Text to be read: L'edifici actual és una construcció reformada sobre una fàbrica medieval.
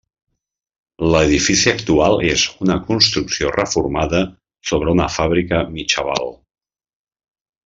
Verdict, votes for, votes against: rejected, 0, 3